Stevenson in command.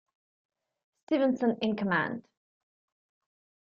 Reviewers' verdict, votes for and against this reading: rejected, 0, 2